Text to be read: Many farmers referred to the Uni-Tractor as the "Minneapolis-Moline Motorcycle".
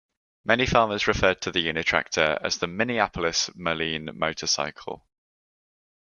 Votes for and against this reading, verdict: 3, 0, accepted